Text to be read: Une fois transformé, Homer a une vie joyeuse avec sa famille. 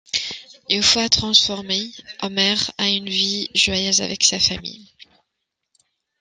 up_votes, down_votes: 2, 0